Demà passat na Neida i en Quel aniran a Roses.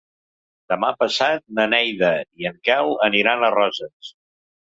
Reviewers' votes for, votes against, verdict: 3, 0, accepted